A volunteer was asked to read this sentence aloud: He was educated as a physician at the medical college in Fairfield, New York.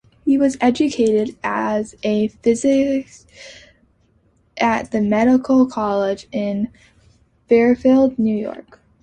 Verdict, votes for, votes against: rejected, 0, 2